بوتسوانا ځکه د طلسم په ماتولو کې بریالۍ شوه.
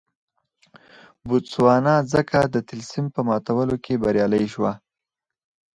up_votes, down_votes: 4, 0